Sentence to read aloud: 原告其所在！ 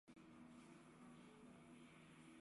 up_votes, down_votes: 0, 5